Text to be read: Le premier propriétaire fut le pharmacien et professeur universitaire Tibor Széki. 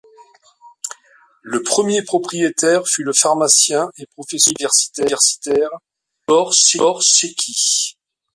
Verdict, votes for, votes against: rejected, 0, 2